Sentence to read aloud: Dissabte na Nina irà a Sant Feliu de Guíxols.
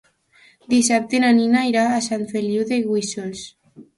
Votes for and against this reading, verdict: 0, 2, rejected